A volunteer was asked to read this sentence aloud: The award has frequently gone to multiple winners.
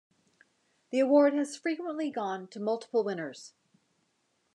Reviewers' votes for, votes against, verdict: 2, 0, accepted